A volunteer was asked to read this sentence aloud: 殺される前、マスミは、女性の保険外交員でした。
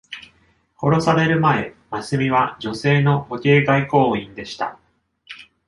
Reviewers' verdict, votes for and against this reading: accepted, 2, 0